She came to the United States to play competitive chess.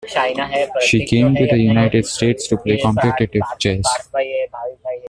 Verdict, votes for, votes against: rejected, 0, 2